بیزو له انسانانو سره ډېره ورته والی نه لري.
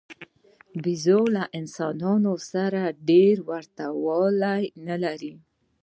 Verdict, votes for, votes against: accepted, 2, 0